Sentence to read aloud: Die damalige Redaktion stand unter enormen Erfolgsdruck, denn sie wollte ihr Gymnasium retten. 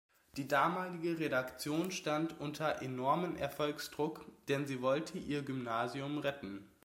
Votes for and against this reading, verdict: 2, 0, accepted